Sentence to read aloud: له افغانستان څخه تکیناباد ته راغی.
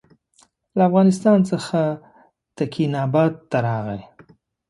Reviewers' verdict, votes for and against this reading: accepted, 2, 0